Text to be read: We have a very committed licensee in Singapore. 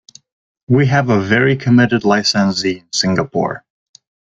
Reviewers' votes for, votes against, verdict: 0, 2, rejected